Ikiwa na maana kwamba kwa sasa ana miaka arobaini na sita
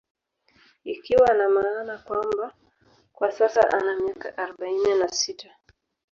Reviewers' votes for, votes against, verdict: 3, 0, accepted